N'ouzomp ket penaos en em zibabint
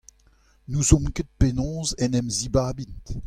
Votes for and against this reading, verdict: 2, 0, accepted